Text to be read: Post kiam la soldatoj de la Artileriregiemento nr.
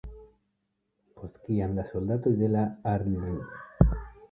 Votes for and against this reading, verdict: 1, 2, rejected